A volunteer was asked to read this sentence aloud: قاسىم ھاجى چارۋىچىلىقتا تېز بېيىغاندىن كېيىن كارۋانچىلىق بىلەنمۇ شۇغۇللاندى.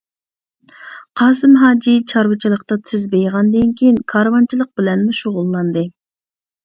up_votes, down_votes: 2, 0